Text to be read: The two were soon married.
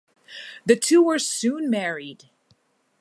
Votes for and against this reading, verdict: 2, 0, accepted